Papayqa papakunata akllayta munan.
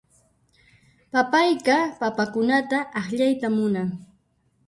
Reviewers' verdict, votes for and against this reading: rejected, 1, 2